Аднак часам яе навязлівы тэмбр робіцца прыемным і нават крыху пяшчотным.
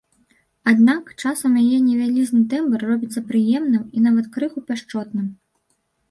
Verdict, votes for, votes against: rejected, 2, 3